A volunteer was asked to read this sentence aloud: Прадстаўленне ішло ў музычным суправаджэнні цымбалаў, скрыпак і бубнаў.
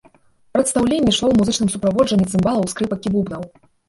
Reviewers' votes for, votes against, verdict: 1, 2, rejected